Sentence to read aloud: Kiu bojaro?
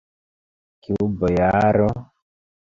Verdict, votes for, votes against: accepted, 2, 1